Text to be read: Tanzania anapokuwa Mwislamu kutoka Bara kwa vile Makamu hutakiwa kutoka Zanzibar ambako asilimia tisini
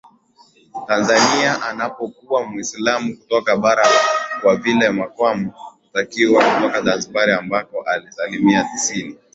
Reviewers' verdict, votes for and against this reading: accepted, 2, 0